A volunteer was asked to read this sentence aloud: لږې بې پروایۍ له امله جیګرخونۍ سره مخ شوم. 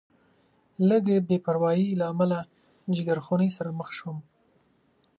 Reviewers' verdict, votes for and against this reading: accepted, 2, 0